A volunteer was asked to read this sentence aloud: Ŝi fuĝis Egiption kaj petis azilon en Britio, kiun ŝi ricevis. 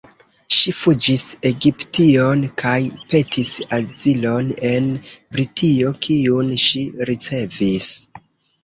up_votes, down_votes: 2, 0